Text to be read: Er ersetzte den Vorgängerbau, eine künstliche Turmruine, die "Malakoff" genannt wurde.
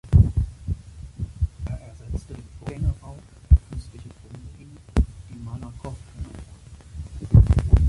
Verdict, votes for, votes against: rejected, 0, 2